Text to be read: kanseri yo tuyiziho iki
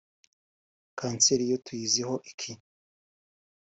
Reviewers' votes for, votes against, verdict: 0, 2, rejected